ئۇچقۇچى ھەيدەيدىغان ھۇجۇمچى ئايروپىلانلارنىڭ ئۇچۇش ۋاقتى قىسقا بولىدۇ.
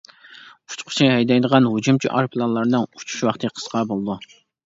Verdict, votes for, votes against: accepted, 2, 0